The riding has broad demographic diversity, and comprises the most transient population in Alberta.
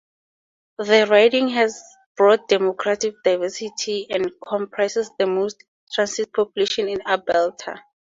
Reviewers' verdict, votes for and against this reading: accepted, 2, 0